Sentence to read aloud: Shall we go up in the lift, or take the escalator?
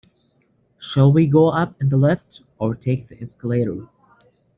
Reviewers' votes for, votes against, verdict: 1, 2, rejected